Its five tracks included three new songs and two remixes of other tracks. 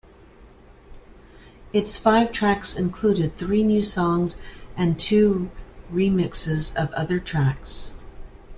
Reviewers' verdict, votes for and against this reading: accepted, 2, 0